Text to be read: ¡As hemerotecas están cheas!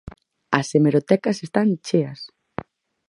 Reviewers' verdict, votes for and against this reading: accepted, 4, 0